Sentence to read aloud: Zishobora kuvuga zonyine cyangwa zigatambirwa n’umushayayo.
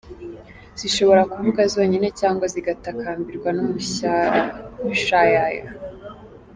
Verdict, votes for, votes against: rejected, 1, 3